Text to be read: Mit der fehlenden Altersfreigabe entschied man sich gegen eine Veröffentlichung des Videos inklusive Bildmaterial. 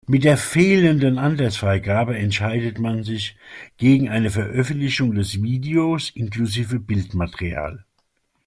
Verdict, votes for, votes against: rejected, 0, 2